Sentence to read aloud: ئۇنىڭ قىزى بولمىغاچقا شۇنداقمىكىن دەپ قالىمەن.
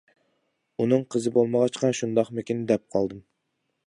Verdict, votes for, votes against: rejected, 0, 2